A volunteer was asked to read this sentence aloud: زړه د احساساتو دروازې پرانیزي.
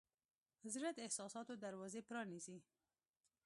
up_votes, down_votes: 2, 0